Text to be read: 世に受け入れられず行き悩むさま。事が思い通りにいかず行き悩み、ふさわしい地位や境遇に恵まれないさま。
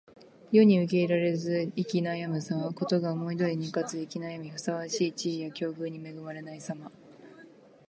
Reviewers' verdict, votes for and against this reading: accepted, 2, 0